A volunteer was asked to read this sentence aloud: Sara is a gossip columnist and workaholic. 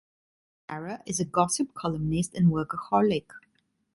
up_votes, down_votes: 1, 2